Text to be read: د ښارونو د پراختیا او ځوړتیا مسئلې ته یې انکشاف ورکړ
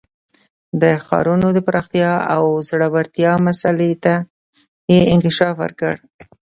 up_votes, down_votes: 1, 2